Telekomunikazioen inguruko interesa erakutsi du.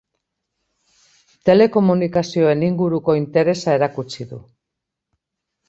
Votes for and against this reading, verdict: 2, 0, accepted